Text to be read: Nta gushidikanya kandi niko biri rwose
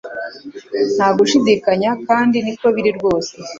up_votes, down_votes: 2, 0